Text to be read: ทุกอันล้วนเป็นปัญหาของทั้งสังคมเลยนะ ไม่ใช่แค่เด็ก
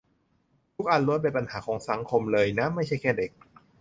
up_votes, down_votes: 0, 2